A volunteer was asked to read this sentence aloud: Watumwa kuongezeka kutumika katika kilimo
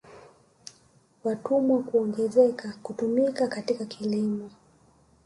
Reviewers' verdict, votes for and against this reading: rejected, 1, 2